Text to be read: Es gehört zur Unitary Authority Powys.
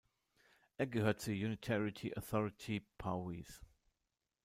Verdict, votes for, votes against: rejected, 1, 2